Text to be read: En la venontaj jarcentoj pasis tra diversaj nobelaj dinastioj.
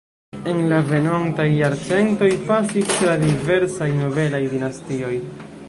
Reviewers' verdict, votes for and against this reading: rejected, 0, 2